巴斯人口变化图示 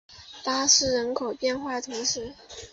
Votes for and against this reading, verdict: 2, 0, accepted